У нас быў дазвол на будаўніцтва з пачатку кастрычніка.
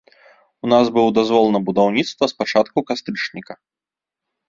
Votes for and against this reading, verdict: 2, 0, accepted